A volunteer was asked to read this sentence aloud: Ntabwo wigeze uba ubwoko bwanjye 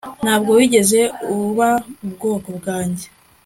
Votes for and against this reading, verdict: 2, 0, accepted